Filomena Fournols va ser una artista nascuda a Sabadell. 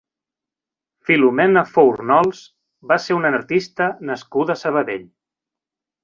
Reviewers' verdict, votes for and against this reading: accepted, 4, 0